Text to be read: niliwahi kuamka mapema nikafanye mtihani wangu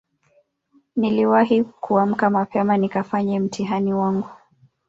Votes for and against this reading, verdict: 0, 2, rejected